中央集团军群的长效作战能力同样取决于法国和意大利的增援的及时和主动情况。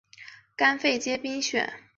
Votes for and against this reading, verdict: 0, 2, rejected